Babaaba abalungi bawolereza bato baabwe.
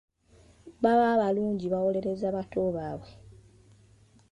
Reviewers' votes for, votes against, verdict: 1, 2, rejected